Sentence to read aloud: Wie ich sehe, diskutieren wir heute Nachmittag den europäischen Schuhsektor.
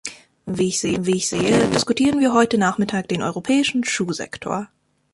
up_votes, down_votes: 0, 2